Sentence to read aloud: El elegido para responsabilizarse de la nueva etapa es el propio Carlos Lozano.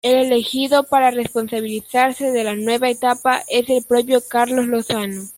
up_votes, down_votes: 1, 2